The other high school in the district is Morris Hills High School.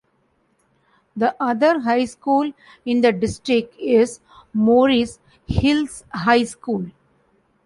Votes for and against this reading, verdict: 2, 0, accepted